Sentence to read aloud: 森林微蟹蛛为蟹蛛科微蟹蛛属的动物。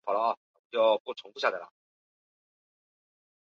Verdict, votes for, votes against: rejected, 0, 2